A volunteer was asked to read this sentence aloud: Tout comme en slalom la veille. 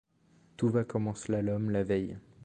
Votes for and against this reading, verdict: 1, 2, rejected